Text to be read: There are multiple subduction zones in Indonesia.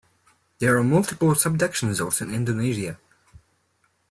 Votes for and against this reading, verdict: 2, 0, accepted